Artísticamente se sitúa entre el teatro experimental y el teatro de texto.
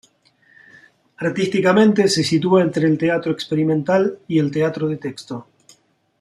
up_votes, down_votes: 2, 0